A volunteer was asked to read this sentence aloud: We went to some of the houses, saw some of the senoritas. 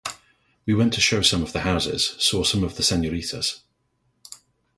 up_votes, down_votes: 0, 2